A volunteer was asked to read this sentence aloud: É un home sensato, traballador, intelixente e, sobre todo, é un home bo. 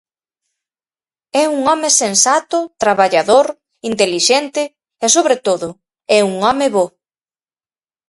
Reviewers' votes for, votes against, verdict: 4, 0, accepted